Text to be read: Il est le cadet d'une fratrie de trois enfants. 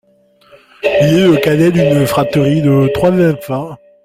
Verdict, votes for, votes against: rejected, 1, 2